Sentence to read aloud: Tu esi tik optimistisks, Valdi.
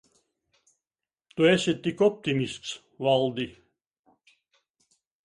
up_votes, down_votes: 1, 2